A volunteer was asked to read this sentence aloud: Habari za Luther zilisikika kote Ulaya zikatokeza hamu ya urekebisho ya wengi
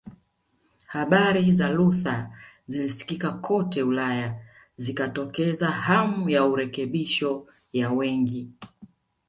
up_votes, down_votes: 1, 2